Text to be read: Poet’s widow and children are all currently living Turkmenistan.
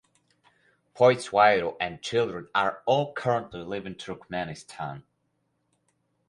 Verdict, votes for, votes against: rejected, 0, 4